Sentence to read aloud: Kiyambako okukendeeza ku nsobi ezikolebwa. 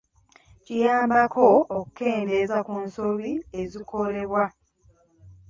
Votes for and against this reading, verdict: 2, 0, accepted